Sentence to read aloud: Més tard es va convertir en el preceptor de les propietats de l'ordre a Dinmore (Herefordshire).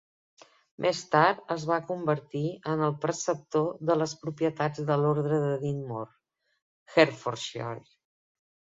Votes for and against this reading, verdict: 1, 3, rejected